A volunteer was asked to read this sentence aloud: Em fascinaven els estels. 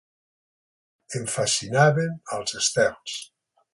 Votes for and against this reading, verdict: 6, 0, accepted